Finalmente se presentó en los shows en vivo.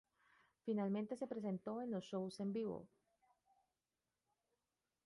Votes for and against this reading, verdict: 1, 2, rejected